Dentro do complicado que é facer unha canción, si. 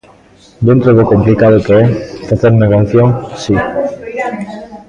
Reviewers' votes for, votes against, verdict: 0, 2, rejected